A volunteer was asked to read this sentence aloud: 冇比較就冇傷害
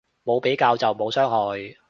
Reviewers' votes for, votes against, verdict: 2, 0, accepted